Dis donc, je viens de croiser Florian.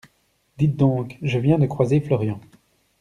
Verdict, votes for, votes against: rejected, 1, 2